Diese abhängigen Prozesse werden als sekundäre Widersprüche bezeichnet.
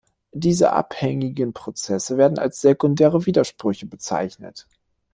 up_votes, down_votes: 2, 0